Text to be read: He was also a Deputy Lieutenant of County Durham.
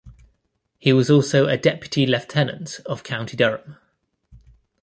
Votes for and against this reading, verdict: 2, 0, accepted